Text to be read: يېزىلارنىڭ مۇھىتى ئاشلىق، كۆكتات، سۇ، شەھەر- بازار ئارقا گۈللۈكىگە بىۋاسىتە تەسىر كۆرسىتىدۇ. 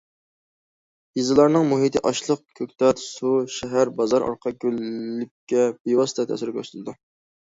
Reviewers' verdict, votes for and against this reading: rejected, 1, 2